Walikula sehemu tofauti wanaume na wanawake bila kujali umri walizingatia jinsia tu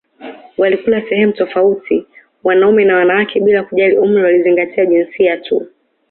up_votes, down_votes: 2, 0